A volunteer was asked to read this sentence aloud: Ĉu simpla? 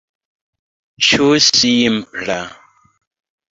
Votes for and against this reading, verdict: 1, 2, rejected